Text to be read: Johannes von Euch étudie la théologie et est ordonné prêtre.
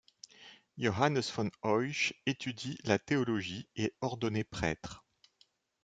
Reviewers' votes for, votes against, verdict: 1, 2, rejected